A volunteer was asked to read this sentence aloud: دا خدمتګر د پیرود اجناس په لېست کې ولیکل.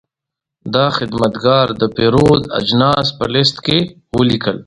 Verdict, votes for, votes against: accepted, 2, 0